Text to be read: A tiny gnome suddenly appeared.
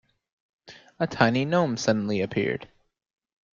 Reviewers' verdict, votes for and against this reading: accepted, 2, 0